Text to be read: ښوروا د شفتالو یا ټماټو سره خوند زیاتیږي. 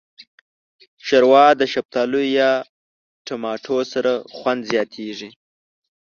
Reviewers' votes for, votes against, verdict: 1, 2, rejected